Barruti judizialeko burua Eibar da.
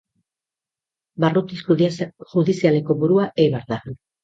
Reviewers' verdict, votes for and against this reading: rejected, 0, 2